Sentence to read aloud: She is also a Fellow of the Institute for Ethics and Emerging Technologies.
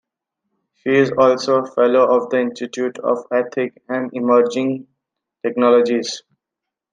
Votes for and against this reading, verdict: 0, 2, rejected